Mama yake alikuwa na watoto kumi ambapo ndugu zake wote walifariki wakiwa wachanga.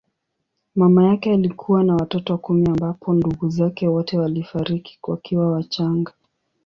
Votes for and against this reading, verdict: 2, 0, accepted